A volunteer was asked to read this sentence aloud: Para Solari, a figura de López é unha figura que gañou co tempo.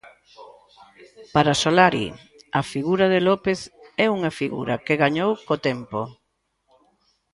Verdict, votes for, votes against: accepted, 2, 0